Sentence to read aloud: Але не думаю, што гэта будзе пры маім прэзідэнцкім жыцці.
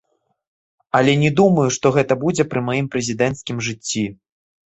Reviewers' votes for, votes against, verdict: 1, 2, rejected